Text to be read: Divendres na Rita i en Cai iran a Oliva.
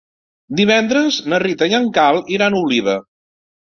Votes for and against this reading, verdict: 0, 3, rejected